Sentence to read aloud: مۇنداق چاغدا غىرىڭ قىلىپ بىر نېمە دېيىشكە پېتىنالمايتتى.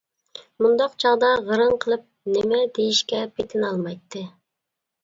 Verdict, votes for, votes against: rejected, 0, 2